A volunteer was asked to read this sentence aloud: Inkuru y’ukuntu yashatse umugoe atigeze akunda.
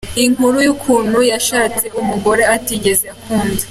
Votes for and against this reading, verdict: 1, 2, rejected